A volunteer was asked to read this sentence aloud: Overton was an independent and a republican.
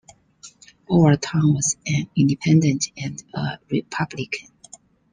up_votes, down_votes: 2, 0